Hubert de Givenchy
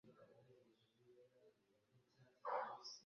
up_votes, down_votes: 0, 2